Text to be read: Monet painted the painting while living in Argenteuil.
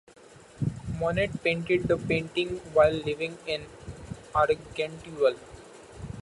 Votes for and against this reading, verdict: 2, 0, accepted